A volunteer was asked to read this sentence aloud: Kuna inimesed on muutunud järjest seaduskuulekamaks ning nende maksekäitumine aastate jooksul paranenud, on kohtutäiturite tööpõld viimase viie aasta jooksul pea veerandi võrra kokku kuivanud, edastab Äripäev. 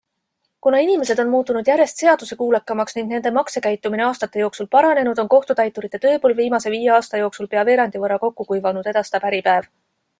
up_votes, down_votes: 2, 0